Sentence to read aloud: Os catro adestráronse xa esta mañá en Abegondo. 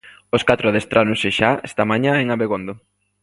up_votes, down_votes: 2, 0